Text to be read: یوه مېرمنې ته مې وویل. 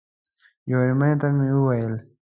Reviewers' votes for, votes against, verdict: 2, 0, accepted